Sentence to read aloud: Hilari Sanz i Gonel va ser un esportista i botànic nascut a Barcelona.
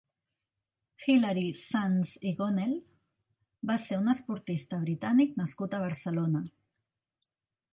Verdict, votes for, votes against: rejected, 0, 2